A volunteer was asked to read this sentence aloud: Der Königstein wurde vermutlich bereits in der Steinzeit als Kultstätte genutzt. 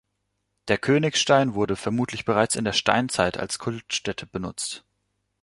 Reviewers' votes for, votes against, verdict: 0, 2, rejected